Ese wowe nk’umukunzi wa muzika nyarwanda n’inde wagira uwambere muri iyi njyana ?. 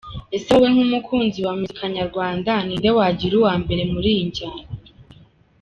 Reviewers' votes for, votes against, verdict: 2, 1, accepted